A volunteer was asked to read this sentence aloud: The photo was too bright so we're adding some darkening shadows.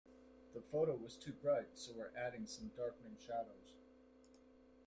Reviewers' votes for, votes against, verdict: 2, 0, accepted